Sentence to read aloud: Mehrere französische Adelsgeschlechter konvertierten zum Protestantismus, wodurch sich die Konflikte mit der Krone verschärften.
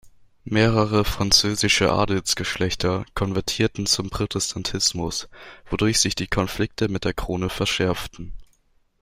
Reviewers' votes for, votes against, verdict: 0, 2, rejected